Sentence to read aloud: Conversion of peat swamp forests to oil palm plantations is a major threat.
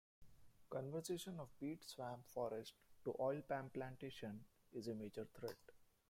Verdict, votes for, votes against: rejected, 0, 2